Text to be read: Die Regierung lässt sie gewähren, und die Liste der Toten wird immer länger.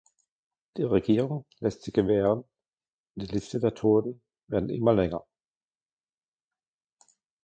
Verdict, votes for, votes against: rejected, 0, 2